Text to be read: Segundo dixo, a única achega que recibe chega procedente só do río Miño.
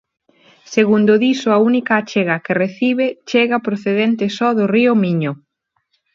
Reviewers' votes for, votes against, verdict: 2, 1, accepted